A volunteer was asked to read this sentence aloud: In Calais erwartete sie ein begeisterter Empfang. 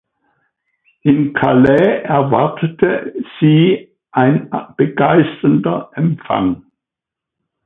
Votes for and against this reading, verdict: 1, 2, rejected